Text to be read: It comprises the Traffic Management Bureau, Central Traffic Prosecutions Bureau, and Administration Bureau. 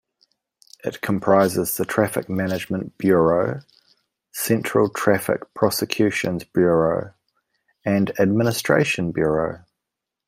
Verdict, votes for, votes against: accepted, 2, 0